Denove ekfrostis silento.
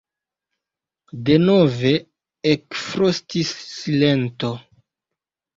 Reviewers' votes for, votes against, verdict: 1, 2, rejected